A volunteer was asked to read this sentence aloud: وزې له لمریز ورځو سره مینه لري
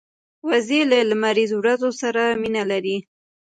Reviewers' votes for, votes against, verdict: 1, 2, rejected